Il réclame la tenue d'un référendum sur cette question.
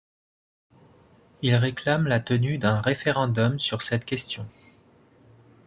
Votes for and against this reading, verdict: 2, 0, accepted